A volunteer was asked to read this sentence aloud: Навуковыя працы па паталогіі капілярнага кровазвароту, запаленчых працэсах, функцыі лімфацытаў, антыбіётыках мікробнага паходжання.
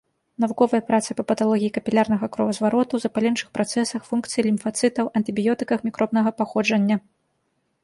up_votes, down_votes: 2, 0